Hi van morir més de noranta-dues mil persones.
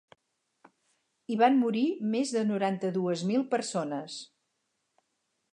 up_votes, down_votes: 4, 0